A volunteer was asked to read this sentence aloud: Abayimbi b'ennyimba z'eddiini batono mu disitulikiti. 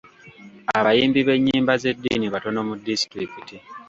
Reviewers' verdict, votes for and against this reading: accepted, 2, 0